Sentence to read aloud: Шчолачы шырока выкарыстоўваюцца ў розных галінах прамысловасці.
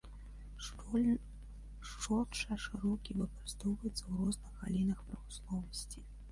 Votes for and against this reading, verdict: 0, 3, rejected